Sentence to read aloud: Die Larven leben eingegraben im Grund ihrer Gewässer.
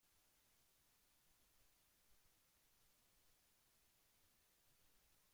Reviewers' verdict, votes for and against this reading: rejected, 0, 2